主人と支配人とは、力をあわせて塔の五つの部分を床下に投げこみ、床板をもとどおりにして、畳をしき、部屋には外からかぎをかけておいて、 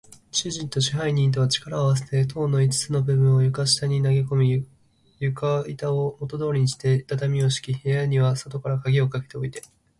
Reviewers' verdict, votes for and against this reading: rejected, 0, 2